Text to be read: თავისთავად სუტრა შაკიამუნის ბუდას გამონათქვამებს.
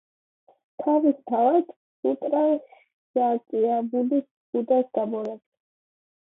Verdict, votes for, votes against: rejected, 1, 2